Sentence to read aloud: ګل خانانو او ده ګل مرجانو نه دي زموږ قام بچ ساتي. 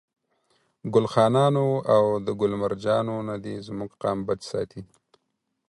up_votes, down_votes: 4, 0